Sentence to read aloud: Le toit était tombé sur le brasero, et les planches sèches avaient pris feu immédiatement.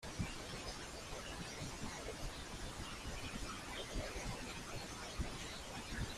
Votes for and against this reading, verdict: 0, 2, rejected